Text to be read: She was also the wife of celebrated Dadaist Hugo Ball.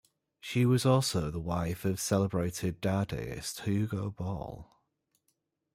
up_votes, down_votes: 2, 1